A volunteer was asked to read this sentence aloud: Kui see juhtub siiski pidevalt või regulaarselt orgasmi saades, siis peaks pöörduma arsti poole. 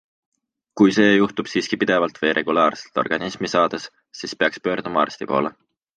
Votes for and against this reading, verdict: 1, 2, rejected